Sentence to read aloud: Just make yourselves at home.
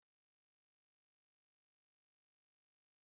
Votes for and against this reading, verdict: 0, 2, rejected